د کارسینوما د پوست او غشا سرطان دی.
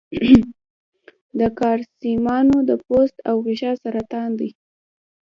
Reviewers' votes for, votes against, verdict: 2, 1, accepted